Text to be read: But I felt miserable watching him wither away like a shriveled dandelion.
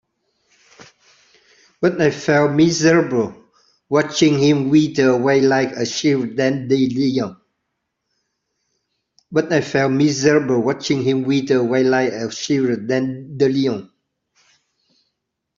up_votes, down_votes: 2, 22